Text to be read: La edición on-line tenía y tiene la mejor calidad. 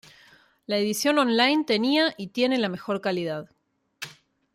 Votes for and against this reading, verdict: 2, 0, accepted